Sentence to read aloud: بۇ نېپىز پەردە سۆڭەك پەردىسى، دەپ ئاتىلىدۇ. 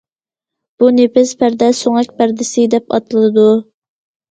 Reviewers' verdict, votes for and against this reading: accepted, 2, 0